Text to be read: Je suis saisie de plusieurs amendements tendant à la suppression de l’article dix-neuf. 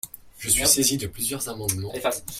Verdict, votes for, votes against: rejected, 0, 2